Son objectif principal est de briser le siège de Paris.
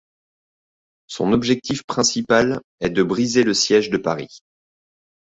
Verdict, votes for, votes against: accepted, 2, 0